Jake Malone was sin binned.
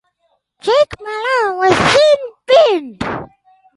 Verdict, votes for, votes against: accepted, 4, 0